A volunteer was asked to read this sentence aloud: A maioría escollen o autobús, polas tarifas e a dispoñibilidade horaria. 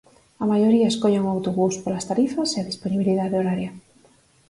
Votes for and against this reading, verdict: 4, 2, accepted